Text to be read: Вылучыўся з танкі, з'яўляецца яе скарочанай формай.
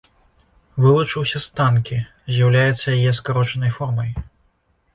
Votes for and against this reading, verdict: 2, 0, accepted